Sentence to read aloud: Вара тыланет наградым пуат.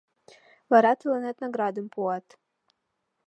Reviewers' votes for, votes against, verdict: 2, 0, accepted